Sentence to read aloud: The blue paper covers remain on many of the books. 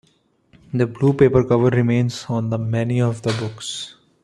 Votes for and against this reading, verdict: 0, 2, rejected